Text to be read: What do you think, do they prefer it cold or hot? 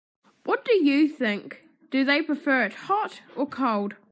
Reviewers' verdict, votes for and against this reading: rejected, 0, 3